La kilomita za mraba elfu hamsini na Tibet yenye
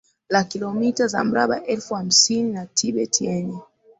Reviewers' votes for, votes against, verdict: 2, 0, accepted